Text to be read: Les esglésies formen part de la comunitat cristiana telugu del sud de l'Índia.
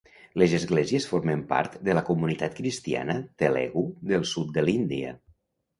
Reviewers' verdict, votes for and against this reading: rejected, 0, 2